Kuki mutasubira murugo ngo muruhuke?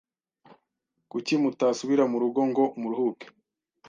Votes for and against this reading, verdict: 2, 0, accepted